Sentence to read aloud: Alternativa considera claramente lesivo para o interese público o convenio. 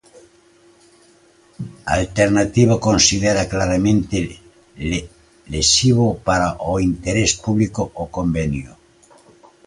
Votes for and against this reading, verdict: 0, 2, rejected